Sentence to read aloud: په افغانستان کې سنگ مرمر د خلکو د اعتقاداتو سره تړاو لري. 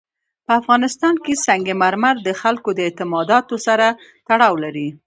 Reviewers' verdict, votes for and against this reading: rejected, 1, 2